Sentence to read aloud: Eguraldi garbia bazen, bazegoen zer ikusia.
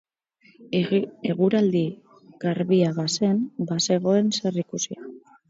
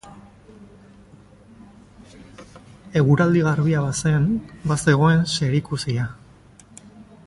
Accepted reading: second